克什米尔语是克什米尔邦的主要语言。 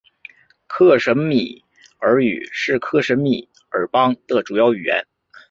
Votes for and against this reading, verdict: 5, 0, accepted